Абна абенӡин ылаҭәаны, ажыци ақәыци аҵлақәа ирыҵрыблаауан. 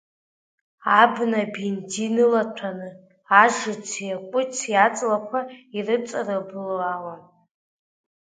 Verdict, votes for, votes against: rejected, 2, 3